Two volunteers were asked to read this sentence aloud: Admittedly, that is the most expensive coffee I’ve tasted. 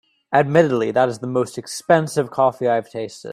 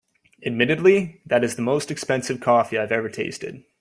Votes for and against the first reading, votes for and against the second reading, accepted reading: 2, 0, 1, 2, first